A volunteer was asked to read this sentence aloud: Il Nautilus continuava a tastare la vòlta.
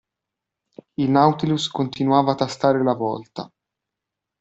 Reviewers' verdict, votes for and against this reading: accepted, 2, 0